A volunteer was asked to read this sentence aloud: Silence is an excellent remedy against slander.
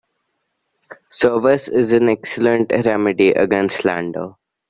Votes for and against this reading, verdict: 0, 2, rejected